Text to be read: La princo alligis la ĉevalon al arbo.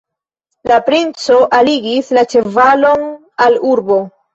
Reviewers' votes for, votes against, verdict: 1, 2, rejected